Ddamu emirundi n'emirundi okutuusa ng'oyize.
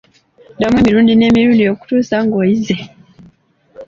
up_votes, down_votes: 2, 0